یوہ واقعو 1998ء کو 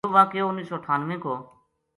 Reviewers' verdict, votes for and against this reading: rejected, 0, 2